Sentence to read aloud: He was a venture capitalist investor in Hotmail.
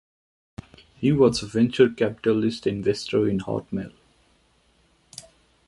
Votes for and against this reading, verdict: 2, 0, accepted